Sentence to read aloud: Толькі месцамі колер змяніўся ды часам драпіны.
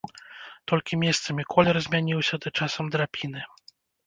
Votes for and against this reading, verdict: 0, 2, rejected